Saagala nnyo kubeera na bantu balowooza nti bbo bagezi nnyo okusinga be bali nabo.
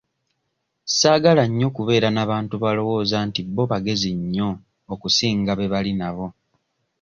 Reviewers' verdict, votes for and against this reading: rejected, 1, 2